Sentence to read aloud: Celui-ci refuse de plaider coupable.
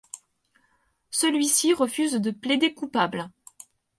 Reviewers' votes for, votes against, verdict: 4, 0, accepted